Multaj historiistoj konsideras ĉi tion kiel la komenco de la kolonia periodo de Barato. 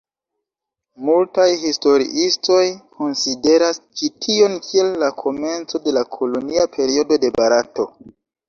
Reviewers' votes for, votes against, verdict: 2, 1, accepted